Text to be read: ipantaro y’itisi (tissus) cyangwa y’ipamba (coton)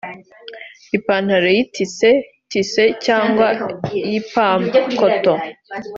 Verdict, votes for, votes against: accepted, 2, 0